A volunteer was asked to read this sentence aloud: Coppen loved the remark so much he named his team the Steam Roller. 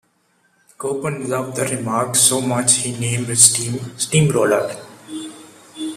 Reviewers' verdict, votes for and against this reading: rejected, 1, 2